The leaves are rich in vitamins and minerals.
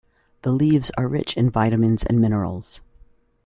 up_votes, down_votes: 2, 0